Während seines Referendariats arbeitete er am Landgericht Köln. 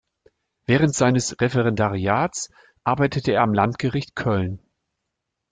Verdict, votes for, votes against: accepted, 2, 0